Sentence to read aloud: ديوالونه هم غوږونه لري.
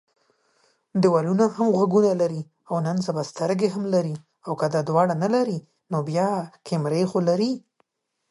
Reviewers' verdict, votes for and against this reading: rejected, 0, 2